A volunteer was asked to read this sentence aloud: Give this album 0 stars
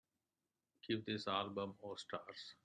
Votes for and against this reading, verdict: 0, 2, rejected